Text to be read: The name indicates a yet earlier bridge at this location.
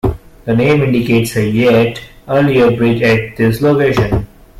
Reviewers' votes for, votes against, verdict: 2, 0, accepted